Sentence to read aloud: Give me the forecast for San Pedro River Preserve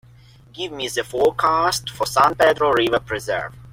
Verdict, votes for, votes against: accepted, 2, 0